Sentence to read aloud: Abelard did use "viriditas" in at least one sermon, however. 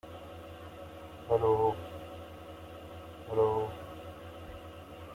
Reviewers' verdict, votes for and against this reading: rejected, 0, 2